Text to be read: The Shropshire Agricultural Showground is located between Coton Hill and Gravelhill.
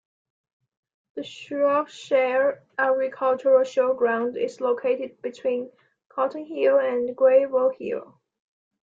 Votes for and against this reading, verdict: 2, 1, accepted